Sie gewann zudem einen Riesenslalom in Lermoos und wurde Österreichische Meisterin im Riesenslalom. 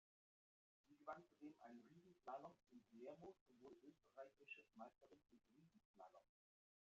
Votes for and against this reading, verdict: 0, 2, rejected